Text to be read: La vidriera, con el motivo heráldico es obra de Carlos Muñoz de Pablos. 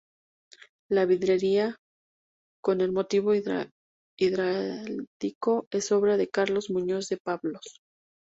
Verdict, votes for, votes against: rejected, 0, 2